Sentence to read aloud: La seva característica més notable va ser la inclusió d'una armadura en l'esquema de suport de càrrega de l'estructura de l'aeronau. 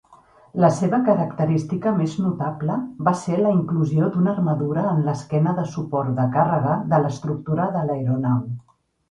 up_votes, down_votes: 2, 0